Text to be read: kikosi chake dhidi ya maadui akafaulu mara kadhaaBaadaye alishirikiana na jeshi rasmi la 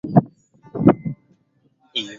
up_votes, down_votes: 0, 4